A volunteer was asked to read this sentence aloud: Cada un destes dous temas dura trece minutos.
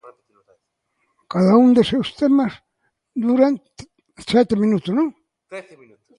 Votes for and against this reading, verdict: 0, 2, rejected